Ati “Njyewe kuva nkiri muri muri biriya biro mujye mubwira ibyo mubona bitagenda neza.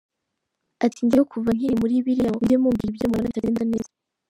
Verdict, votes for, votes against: rejected, 2, 3